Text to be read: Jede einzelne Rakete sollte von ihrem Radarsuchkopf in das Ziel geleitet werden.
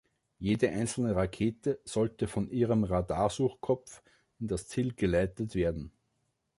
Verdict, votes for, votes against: accepted, 2, 0